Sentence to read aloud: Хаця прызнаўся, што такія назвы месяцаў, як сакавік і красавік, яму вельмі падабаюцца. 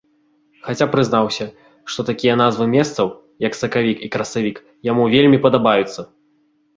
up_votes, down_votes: 0, 2